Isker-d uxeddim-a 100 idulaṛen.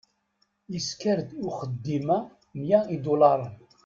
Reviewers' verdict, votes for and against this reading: rejected, 0, 2